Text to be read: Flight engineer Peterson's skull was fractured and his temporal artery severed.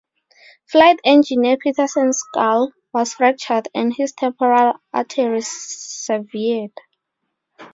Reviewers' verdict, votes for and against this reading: rejected, 2, 2